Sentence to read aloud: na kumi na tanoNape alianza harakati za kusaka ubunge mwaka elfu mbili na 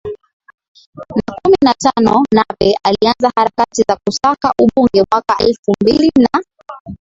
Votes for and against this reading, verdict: 7, 11, rejected